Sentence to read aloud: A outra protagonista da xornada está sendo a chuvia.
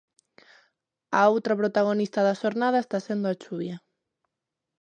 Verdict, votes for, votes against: accepted, 2, 0